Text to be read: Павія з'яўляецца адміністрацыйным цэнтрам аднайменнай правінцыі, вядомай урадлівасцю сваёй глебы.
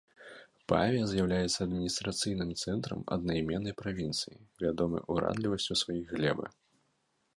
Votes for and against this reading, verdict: 0, 2, rejected